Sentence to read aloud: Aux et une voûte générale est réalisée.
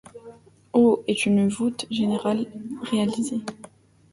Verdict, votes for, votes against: rejected, 0, 2